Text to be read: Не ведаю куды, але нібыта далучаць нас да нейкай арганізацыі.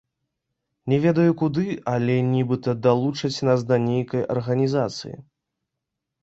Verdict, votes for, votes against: accepted, 2, 1